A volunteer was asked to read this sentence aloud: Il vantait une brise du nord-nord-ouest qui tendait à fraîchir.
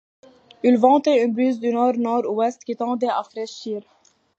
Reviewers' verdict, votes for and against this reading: accepted, 2, 0